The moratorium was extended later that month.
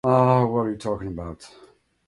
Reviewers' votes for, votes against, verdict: 0, 2, rejected